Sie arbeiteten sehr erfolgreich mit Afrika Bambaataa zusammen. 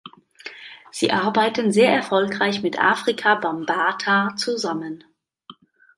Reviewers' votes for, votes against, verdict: 0, 2, rejected